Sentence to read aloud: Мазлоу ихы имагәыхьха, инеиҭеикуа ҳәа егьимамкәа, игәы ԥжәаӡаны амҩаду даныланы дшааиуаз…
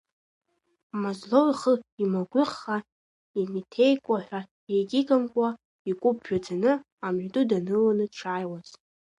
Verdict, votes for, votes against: rejected, 1, 3